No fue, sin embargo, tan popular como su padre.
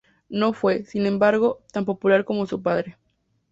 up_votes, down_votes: 2, 0